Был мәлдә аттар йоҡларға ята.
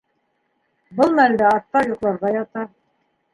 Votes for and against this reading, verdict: 2, 0, accepted